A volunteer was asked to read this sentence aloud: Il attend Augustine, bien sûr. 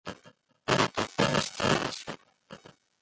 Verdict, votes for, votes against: rejected, 0, 2